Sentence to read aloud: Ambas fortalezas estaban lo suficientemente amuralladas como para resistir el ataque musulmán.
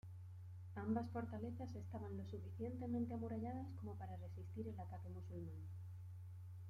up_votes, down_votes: 0, 2